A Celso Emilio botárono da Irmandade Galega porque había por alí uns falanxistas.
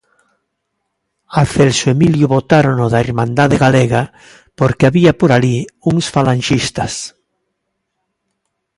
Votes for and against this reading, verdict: 2, 0, accepted